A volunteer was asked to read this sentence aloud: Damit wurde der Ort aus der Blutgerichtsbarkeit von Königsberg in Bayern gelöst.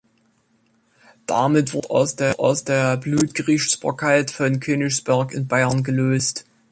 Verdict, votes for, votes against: rejected, 1, 3